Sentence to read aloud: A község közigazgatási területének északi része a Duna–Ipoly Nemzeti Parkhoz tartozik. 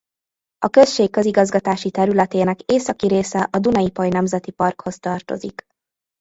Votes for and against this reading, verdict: 1, 2, rejected